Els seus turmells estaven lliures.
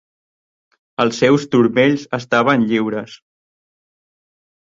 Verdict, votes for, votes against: accepted, 3, 0